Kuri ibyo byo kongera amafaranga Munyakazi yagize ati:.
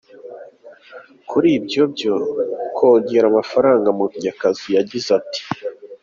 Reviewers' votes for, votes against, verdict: 2, 0, accepted